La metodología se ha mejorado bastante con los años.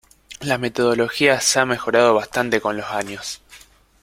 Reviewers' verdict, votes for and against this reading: rejected, 1, 2